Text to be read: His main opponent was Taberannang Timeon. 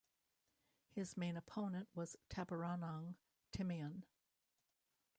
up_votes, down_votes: 0, 2